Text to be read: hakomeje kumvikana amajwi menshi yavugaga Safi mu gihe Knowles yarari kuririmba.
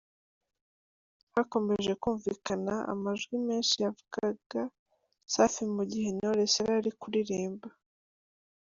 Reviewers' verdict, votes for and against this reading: accepted, 2, 0